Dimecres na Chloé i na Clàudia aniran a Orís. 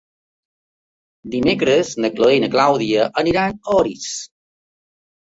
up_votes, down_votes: 3, 0